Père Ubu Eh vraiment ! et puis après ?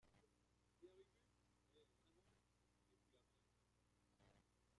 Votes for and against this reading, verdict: 0, 2, rejected